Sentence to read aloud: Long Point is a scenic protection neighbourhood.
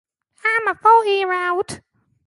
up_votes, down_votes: 0, 2